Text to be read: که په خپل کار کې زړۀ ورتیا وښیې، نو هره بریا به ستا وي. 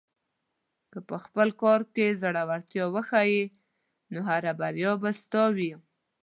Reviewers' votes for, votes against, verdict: 2, 0, accepted